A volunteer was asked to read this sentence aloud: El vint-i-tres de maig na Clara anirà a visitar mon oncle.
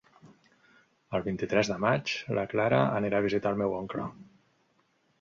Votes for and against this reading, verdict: 2, 1, accepted